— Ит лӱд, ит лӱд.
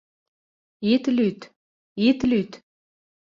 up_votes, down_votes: 2, 0